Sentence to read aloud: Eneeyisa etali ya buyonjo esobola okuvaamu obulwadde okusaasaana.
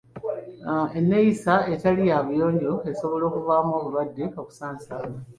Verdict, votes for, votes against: accepted, 2, 1